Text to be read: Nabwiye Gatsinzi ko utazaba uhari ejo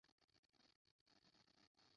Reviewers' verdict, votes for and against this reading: rejected, 0, 2